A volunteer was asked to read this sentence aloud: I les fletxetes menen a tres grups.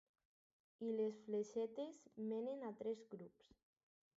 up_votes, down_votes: 2, 2